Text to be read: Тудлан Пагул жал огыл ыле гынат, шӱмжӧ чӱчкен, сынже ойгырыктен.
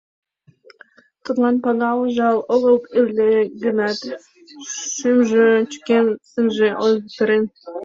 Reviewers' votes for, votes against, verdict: 2, 0, accepted